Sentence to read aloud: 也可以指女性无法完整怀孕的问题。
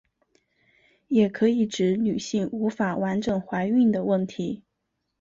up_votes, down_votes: 4, 0